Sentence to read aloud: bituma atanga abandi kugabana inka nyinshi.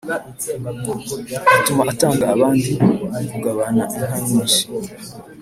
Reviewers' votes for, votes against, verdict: 3, 1, accepted